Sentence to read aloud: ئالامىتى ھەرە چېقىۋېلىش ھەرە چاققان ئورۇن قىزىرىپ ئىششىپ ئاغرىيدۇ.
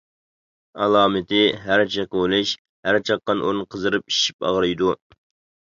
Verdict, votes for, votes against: rejected, 1, 2